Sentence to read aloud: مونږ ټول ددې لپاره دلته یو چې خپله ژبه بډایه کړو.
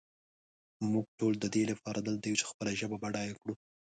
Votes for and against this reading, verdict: 2, 0, accepted